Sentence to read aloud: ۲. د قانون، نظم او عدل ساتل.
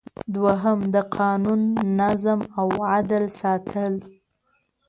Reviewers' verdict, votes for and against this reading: rejected, 0, 2